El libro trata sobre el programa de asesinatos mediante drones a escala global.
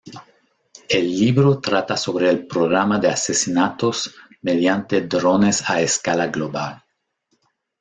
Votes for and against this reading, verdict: 2, 0, accepted